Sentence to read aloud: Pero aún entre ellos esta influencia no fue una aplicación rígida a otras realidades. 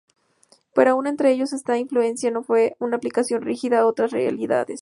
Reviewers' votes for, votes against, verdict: 0, 2, rejected